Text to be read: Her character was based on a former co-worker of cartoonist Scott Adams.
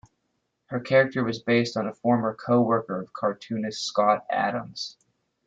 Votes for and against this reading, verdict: 2, 1, accepted